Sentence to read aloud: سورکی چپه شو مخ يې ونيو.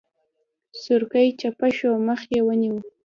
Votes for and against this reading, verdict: 2, 0, accepted